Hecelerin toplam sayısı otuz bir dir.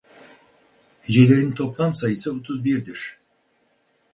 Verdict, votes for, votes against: accepted, 4, 0